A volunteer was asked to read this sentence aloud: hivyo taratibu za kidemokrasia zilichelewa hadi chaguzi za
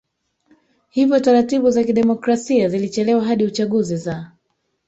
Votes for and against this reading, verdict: 1, 2, rejected